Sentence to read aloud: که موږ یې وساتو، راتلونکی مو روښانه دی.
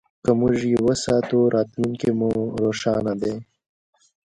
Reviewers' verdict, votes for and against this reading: accepted, 2, 1